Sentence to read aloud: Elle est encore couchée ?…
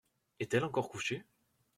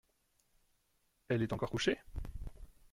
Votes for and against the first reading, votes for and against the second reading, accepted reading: 0, 2, 2, 0, second